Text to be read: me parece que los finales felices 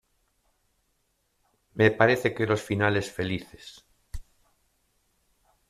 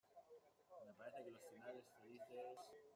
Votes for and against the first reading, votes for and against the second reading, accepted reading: 2, 0, 0, 2, first